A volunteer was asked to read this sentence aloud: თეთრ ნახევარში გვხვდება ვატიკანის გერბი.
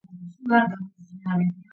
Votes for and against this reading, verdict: 0, 2, rejected